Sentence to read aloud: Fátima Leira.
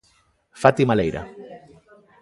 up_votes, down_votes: 2, 0